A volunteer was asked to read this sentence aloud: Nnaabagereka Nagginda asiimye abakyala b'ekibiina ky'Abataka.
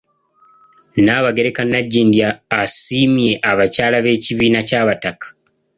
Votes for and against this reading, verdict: 1, 2, rejected